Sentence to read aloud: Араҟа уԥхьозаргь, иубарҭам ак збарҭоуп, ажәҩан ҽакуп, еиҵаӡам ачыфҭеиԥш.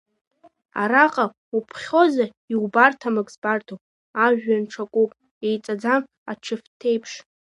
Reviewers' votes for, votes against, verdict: 0, 2, rejected